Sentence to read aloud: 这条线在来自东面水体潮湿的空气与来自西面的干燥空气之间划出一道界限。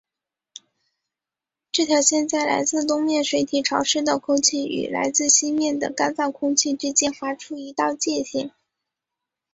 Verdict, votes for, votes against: accepted, 2, 0